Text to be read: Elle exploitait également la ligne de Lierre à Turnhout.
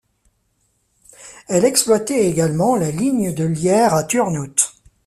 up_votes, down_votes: 2, 0